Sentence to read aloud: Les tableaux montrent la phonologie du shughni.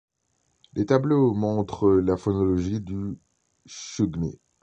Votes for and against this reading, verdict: 0, 2, rejected